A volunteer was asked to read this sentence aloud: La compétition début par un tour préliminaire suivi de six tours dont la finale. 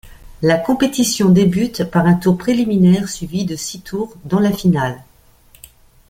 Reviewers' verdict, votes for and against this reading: rejected, 0, 2